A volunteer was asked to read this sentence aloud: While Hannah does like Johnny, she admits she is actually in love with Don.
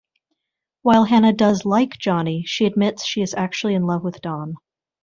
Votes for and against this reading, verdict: 2, 0, accepted